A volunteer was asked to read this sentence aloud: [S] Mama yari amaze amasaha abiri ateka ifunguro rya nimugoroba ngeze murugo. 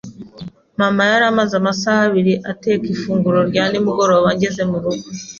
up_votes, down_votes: 2, 0